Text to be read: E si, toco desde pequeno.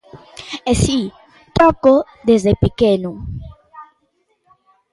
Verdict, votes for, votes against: accepted, 3, 0